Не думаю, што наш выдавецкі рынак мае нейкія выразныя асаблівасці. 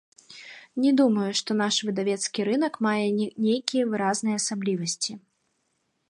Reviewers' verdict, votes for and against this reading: rejected, 1, 2